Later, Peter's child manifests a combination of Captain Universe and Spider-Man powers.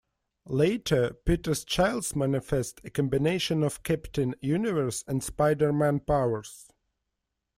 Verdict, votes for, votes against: rejected, 1, 2